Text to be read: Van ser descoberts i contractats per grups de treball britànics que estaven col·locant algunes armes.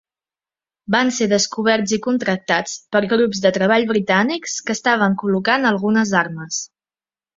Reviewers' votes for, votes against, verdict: 3, 0, accepted